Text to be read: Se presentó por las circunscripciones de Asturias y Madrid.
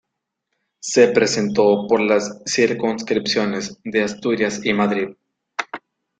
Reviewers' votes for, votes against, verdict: 2, 0, accepted